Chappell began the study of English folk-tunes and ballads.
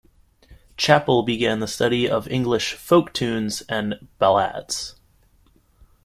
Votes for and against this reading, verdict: 0, 2, rejected